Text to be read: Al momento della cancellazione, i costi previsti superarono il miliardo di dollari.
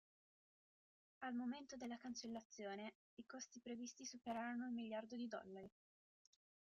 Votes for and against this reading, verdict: 0, 2, rejected